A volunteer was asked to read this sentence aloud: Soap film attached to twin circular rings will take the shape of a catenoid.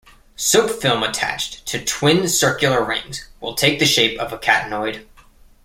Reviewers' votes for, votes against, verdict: 2, 0, accepted